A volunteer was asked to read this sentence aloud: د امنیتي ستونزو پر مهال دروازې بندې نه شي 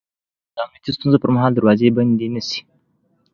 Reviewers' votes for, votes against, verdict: 2, 0, accepted